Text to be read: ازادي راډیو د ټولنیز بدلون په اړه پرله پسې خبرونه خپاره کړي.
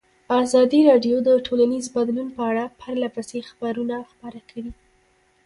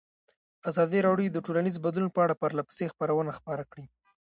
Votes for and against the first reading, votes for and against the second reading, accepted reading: 2, 1, 1, 2, first